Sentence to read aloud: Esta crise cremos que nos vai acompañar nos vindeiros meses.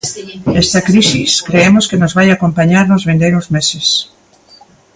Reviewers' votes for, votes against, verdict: 0, 2, rejected